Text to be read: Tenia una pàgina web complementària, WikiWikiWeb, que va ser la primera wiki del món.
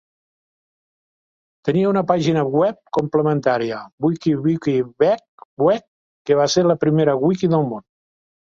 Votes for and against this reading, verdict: 0, 2, rejected